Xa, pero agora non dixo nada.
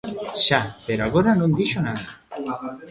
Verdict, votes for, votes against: rejected, 1, 2